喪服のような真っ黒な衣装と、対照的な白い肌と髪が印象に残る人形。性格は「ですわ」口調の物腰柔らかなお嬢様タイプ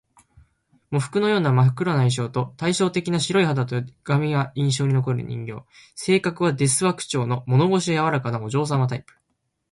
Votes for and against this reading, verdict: 1, 2, rejected